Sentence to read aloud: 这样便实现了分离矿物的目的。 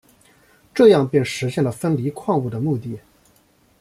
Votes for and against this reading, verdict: 1, 2, rejected